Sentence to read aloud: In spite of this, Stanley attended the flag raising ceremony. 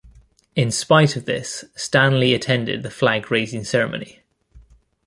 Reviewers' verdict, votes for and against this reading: accepted, 2, 0